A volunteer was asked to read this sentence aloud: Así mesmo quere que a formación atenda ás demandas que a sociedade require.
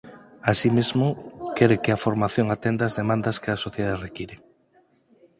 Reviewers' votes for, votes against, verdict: 6, 4, accepted